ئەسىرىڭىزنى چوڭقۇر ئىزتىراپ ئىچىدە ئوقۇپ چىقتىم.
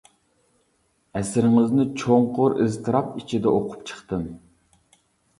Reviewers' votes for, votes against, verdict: 2, 0, accepted